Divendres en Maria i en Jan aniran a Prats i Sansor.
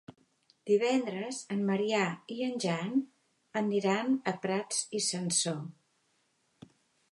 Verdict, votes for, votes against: rejected, 0, 2